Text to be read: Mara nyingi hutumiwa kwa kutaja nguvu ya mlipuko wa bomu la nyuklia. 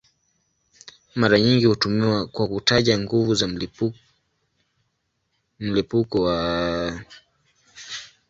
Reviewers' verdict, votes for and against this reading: rejected, 0, 2